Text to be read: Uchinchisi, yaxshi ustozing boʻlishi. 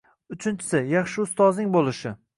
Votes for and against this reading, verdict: 2, 0, accepted